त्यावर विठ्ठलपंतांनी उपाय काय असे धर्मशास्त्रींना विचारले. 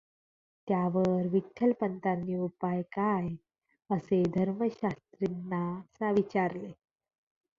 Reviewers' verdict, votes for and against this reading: accepted, 2, 0